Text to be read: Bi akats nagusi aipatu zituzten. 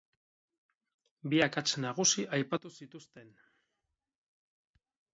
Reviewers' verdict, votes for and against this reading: accepted, 6, 2